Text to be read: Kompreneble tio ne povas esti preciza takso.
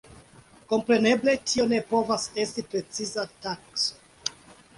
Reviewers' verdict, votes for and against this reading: accepted, 2, 0